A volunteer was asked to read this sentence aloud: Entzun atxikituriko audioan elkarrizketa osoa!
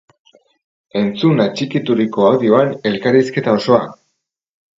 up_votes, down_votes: 2, 0